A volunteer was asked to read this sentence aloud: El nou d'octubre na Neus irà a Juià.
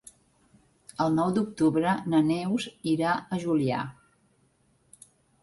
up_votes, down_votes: 1, 2